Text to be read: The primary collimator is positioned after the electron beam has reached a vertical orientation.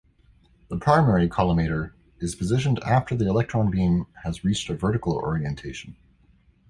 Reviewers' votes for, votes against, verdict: 2, 1, accepted